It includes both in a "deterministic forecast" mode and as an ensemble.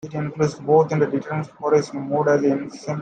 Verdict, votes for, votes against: rejected, 0, 2